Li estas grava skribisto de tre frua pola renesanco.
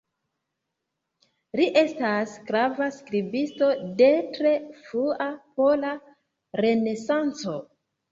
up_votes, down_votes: 1, 2